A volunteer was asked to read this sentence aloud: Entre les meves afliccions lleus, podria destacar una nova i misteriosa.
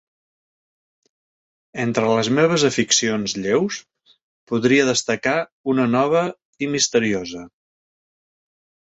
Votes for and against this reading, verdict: 0, 2, rejected